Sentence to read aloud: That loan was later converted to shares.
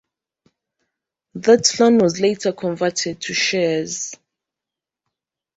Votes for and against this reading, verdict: 1, 2, rejected